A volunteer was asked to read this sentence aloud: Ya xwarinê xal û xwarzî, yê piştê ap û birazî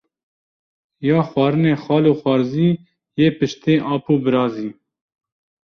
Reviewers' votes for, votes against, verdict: 2, 0, accepted